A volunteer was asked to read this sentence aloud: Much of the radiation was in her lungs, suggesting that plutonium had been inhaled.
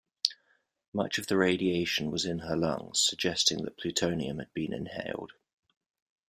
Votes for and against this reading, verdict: 2, 1, accepted